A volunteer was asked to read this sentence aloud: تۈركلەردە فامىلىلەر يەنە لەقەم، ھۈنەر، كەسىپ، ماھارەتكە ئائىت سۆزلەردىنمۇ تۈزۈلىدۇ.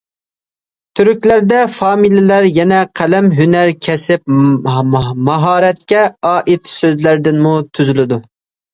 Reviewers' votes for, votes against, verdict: 0, 2, rejected